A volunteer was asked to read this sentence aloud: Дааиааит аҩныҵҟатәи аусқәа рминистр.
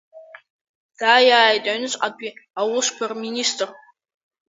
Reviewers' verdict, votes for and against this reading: rejected, 1, 2